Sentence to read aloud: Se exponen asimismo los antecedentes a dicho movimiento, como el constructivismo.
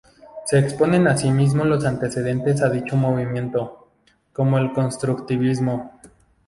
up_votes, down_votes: 0, 2